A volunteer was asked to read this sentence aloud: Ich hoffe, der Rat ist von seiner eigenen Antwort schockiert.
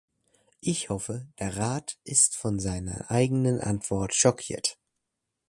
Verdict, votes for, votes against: accepted, 2, 0